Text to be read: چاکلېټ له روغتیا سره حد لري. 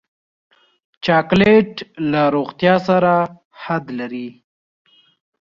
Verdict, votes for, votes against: accepted, 2, 0